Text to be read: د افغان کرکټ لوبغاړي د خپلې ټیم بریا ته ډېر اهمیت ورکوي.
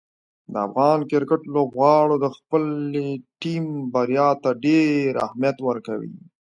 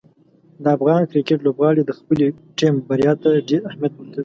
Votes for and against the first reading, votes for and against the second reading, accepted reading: 0, 2, 2, 0, second